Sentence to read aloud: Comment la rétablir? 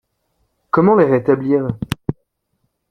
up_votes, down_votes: 2, 0